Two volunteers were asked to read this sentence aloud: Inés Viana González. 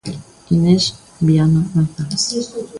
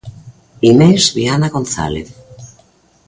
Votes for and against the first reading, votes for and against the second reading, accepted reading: 1, 2, 2, 0, second